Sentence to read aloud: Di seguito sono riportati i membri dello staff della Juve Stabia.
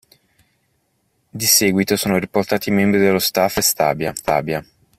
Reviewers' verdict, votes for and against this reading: rejected, 0, 2